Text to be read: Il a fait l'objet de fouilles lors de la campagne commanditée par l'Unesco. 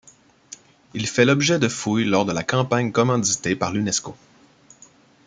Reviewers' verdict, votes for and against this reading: rejected, 0, 2